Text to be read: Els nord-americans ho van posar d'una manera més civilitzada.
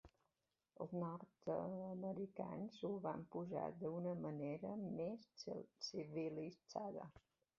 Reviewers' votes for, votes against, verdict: 1, 2, rejected